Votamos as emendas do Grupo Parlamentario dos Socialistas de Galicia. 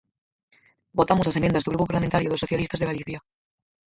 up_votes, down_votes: 0, 4